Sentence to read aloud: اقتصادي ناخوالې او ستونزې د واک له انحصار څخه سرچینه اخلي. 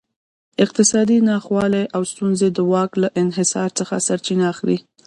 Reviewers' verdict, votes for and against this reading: rejected, 0, 2